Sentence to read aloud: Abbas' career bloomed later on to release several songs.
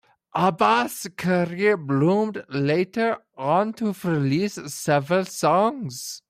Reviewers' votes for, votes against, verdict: 1, 2, rejected